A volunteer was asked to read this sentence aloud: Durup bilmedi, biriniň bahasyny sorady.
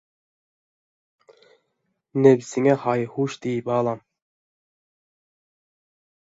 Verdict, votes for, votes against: rejected, 0, 2